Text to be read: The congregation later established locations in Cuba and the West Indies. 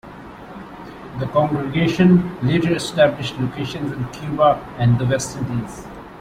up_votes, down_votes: 2, 0